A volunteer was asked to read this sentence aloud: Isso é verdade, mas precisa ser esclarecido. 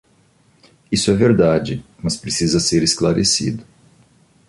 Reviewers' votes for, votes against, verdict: 2, 0, accepted